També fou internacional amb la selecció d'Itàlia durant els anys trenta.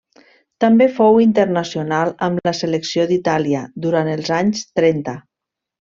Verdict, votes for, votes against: accepted, 3, 0